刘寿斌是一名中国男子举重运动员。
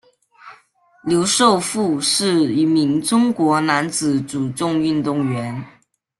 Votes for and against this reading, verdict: 1, 2, rejected